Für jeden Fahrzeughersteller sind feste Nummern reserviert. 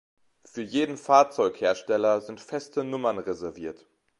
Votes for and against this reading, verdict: 2, 0, accepted